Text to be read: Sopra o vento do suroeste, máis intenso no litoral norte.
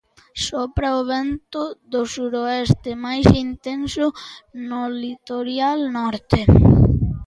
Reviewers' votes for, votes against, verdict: 0, 2, rejected